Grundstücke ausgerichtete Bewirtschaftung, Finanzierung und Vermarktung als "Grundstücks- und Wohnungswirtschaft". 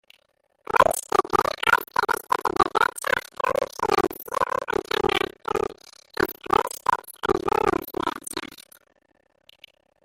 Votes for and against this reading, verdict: 0, 3, rejected